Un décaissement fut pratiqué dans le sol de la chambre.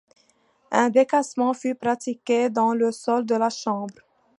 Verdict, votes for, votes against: accepted, 2, 1